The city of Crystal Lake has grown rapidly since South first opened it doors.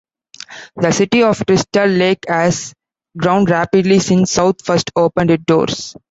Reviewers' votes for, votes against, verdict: 2, 0, accepted